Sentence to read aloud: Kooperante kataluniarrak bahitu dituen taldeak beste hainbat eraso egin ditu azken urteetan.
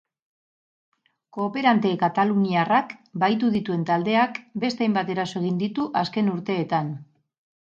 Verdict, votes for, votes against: accepted, 4, 0